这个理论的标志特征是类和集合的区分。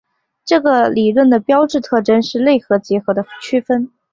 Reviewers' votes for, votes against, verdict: 5, 0, accepted